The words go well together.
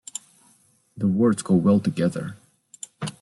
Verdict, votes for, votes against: accepted, 2, 1